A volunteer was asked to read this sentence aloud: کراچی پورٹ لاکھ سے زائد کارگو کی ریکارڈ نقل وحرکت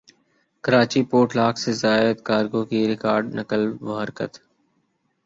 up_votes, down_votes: 1, 2